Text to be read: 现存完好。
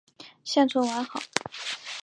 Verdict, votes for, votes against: accepted, 4, 1